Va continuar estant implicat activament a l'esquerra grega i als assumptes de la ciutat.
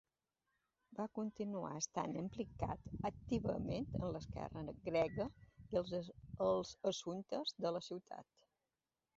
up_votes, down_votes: 1, 2